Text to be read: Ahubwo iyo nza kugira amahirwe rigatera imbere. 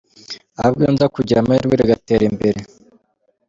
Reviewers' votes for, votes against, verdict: 3, 1, accepted